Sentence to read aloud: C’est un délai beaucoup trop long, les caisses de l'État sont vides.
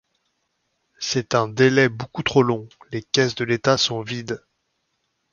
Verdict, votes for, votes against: accepted, 2, 0